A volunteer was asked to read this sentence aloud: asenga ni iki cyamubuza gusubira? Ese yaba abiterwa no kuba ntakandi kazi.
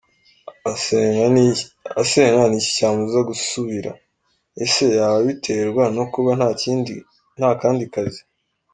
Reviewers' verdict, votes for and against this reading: rejected, 0, 2